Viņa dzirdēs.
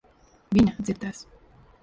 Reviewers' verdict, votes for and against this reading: rejected, 1, 2